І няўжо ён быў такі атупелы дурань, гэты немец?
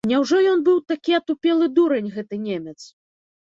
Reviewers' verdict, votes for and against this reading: rejected, 0, 2